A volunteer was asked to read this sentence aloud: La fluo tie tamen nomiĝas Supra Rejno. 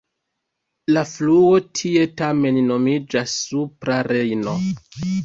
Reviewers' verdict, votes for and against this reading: accepted, 2, 0